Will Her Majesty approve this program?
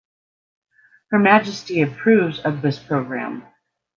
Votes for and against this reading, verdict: 0, 2, rejected